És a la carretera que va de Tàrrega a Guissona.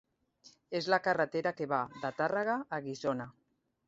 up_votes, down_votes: 1, 2